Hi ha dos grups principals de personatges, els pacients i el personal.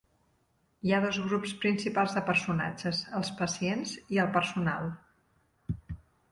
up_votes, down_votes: 3, 0